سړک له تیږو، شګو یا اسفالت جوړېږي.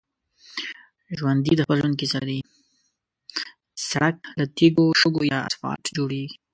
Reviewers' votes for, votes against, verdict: 1, 2, rejected